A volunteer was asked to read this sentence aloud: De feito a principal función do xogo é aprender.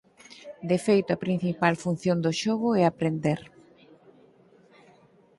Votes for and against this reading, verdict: 4, 0, accepted